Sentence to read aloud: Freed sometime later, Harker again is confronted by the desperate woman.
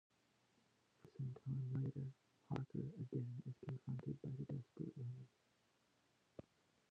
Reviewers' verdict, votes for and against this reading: rejected, 1, 2